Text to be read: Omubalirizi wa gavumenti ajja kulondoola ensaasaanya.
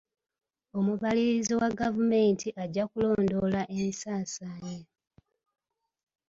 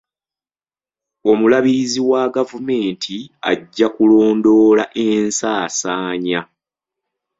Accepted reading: first